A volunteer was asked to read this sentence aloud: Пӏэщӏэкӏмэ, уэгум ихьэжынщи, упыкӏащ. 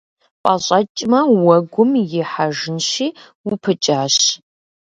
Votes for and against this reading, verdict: 2, 0, accepted